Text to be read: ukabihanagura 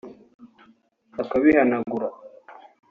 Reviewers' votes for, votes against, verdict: 0, 2, rejected